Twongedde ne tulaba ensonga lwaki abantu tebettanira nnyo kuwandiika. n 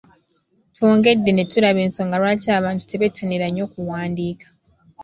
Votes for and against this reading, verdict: 2, 3, rejected